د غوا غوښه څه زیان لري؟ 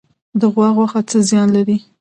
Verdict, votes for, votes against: accepted, 2, 0